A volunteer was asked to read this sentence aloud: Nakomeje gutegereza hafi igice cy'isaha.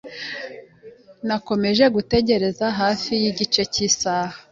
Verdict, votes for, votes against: accepted, 2, 1